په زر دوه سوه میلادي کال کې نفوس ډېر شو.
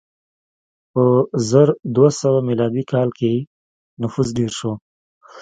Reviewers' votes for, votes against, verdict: 1, 2, rejected